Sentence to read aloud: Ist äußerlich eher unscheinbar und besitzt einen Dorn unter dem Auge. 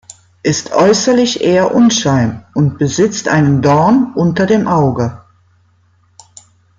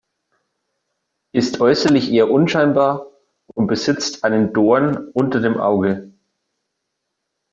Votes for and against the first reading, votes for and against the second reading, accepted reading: 0, 2, 2, 0, second